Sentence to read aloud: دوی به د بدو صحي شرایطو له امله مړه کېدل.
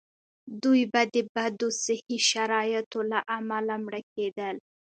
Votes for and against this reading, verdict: 2, 0, accepted